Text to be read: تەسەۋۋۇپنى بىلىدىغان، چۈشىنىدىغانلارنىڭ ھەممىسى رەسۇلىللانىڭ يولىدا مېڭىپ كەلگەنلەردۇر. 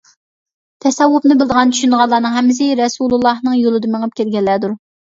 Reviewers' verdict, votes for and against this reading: rejected, 1, 2